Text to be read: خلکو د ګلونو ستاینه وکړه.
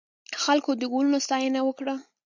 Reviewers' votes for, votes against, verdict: 2, 0, accepted